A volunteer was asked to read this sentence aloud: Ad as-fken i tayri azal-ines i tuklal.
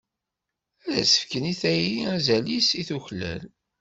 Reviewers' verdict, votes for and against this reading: rejected, 1, 2